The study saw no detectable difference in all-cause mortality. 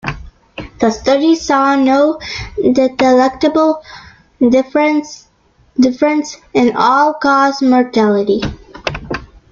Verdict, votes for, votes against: rejected, 0, 2